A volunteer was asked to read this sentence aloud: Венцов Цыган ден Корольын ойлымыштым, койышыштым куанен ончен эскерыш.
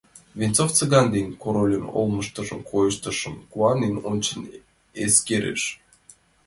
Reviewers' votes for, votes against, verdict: 2, 3, rejected